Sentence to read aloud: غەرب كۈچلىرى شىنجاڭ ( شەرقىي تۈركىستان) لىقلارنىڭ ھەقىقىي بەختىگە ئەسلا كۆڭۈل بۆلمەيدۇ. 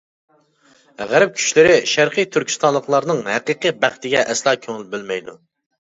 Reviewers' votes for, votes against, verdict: 0, 2, rejected